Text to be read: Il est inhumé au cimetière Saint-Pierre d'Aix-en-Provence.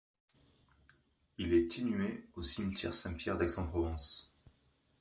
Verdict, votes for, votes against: accepted, 2, 0